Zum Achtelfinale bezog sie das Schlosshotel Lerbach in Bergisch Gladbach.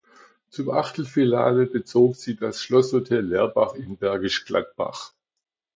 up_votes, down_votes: 0, 2